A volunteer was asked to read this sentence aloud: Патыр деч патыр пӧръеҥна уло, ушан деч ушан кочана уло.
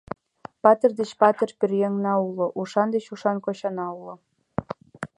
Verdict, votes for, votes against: accepted, 2, 0